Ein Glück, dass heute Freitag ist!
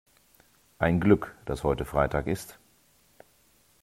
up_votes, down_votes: 2, 1